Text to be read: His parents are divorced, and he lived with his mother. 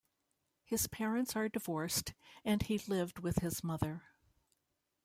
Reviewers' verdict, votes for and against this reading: accepted, 2, 0